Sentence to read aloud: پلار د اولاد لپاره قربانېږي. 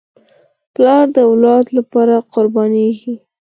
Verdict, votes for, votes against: accepted, 4, 2